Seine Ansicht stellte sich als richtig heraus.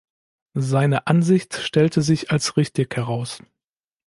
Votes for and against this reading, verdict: 2, 0, accepted